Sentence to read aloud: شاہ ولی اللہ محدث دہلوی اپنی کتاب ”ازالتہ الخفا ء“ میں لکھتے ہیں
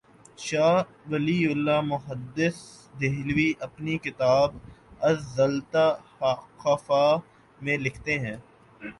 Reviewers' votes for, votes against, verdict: 1, 2, rejected